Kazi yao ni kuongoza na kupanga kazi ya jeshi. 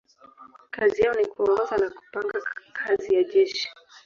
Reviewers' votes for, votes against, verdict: 0, 2, rejected